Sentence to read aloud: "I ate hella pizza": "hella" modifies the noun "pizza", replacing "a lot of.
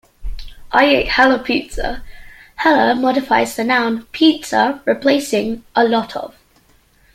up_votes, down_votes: 2, 0